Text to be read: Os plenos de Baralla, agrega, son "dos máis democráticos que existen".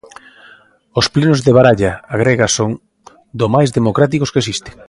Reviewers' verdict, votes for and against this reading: rejected, 0, 2